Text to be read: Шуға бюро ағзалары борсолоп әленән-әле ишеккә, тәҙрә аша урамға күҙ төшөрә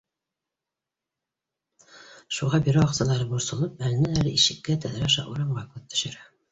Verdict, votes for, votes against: accepted, 2, 0